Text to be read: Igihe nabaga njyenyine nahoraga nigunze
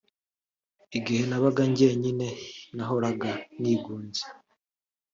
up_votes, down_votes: 3, 0